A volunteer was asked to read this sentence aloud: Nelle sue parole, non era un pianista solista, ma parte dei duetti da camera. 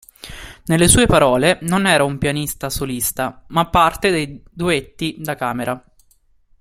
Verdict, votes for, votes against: accepted, 2, 0